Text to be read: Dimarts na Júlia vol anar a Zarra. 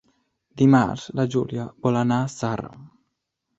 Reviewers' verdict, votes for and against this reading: rejected, 1, 2